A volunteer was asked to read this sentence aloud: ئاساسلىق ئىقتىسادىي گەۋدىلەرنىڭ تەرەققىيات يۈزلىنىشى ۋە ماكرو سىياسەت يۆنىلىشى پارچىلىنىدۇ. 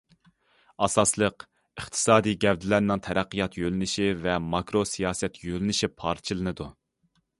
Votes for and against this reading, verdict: 0, 2, rejected